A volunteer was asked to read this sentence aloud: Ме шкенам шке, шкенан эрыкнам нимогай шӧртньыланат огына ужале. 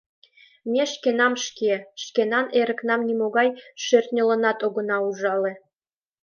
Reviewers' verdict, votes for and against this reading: accepted, 2, 1